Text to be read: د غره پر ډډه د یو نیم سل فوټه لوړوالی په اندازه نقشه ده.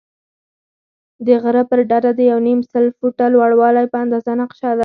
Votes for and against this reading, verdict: 0, 4, rejected